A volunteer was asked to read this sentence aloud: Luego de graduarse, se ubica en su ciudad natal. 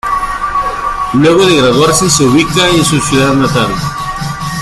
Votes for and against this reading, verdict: 2, 1, accepted